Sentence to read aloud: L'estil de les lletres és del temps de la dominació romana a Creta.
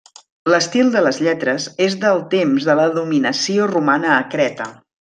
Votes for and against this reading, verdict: 2, 0, accepted